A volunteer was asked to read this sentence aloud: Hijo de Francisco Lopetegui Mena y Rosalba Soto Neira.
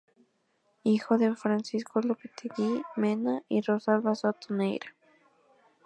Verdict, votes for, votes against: accepted, 2, 0